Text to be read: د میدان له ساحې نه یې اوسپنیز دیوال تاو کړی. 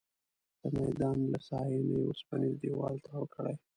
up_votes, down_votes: 1, 2